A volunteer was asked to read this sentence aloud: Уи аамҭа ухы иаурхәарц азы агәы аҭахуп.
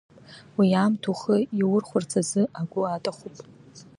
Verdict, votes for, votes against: accepted, 2, 0